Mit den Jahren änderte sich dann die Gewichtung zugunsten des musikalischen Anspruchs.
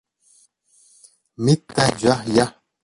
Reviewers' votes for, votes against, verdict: 0, 2, rejected